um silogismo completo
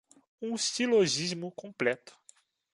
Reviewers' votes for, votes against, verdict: 2, 1, accepted